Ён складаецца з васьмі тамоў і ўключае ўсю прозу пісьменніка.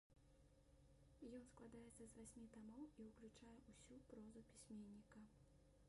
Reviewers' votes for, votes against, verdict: 0, 2, rejected